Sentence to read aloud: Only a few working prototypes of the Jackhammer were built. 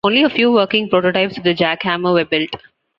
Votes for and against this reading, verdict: 2, 0, accepted